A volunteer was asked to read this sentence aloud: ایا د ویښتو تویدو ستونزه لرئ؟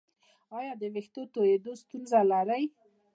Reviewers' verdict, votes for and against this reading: accepted, 2, 0